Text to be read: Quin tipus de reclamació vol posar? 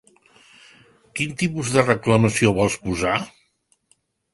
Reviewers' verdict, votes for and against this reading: rejected, 0, 2